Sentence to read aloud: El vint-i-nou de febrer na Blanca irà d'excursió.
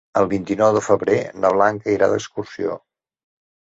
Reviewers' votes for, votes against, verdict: 3, 0, accepted